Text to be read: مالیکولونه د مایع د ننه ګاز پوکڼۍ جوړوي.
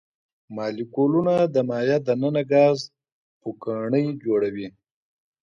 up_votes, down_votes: 2, 0